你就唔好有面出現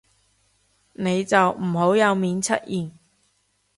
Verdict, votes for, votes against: accepted, 2, 0